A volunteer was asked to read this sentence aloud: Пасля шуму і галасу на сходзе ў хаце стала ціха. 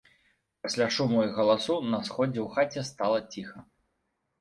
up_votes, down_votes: 2, 1